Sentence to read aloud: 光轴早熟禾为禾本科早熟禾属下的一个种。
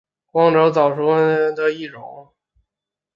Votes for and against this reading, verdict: 0, 2, rejected